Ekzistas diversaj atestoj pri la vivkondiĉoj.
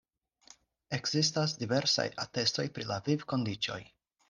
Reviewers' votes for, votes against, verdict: 4, 0, accepted